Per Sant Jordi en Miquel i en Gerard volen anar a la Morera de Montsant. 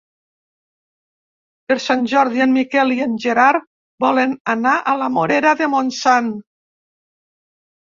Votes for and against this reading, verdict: 3, 0, accepted